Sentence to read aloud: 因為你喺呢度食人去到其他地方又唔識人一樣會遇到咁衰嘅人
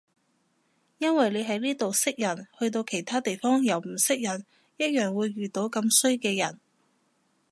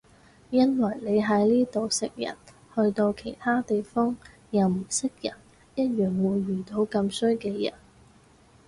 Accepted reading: second